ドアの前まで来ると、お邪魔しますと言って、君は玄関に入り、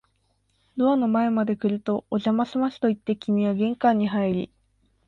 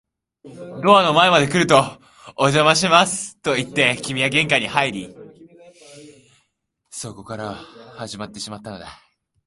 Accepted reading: first